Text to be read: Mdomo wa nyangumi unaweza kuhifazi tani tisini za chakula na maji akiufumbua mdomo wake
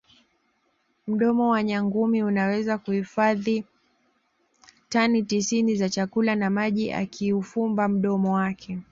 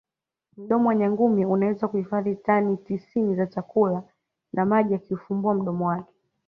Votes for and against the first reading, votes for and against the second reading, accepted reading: 0, 2, 2, 0, second